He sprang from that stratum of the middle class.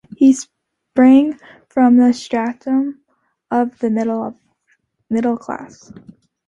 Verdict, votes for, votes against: rejected, 0, 2